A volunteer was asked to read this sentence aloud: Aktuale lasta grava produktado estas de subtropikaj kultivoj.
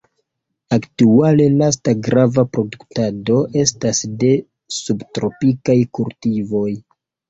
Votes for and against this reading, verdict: 0, 2, rejected